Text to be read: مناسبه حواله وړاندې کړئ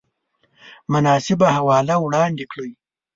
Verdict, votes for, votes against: accepted, 2, 0